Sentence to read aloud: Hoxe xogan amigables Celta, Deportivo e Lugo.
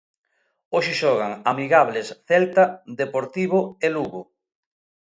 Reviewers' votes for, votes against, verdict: 2, 0, accepted